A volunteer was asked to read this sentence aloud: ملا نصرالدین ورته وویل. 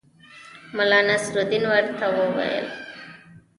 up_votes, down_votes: 1, 2